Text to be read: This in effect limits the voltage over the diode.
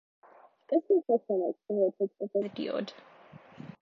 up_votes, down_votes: 1, 2